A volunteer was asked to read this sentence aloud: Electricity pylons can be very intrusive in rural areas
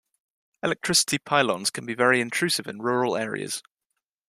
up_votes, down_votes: 2, 0